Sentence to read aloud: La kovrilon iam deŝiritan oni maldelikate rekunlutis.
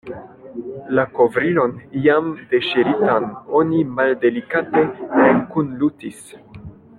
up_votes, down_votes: 2, 1